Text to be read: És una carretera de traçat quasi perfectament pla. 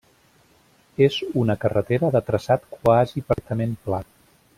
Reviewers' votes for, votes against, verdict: 0, 2, rejected